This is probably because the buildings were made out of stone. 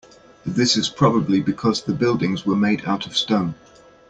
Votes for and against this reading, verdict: 2, 0, accepted